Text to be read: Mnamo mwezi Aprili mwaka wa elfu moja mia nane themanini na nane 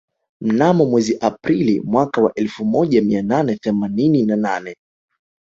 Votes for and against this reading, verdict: 5, 0, accepted